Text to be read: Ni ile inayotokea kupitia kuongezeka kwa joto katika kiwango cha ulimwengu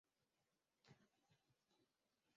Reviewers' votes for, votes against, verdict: 0, 2, rejected